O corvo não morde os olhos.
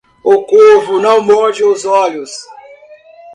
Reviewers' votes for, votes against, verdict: 1, 2, rejected